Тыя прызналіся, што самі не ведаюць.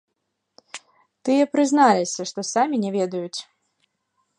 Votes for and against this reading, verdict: 2, 0, accepted